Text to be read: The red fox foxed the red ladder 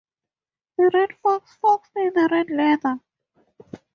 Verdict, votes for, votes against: rejected, 0, 2